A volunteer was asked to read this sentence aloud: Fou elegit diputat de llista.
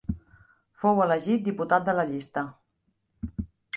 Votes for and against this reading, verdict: 1, 2, rejected